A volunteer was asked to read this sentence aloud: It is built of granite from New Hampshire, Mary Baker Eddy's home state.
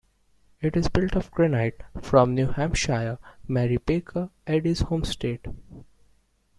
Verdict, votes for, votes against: rejected, 1, 2